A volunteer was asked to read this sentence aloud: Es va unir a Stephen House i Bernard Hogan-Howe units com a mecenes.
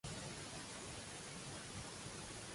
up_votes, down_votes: 0, 2